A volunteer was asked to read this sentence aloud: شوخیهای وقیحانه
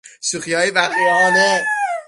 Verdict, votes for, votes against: rejected, 0, 6